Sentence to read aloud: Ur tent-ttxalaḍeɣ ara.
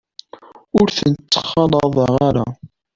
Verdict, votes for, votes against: accepted, 2, 1